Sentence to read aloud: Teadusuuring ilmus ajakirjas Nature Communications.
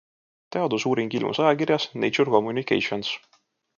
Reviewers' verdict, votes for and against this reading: accepted, 2, 0